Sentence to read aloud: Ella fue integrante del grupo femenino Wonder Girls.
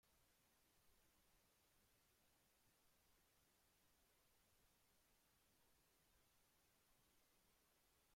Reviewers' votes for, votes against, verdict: 0, 2, rejected